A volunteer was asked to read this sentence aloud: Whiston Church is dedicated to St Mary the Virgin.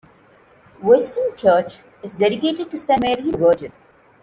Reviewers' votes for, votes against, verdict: 0, 2, rejected